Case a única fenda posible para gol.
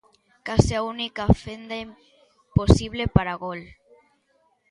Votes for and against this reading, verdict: 0, 2, rejected